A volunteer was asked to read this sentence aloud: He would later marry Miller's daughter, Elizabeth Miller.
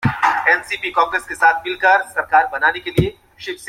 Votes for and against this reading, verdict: 0, 2, rejected